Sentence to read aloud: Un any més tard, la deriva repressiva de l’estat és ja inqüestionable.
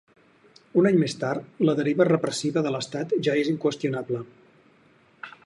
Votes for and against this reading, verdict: 0, 4, rejected